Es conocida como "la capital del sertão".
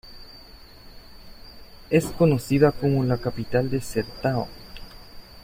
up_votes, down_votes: 2, 0